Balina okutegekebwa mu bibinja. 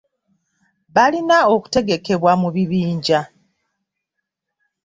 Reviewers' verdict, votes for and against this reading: accepted, 2, 0